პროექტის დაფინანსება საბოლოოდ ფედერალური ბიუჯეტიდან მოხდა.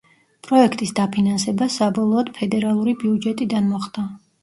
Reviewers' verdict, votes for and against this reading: accepted, 2, 0